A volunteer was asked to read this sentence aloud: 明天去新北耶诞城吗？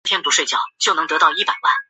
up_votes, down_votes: 0, 2